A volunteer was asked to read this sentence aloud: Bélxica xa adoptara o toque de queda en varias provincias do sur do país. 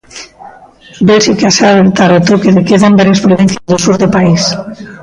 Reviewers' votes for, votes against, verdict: 0, 2, rejected